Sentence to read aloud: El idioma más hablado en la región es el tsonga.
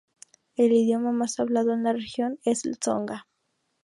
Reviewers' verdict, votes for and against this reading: rejected, 0, 2